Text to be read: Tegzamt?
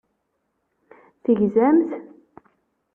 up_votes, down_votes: 2, 0